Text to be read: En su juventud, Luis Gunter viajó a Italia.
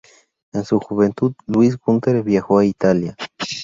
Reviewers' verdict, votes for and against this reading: accepted, 2, 0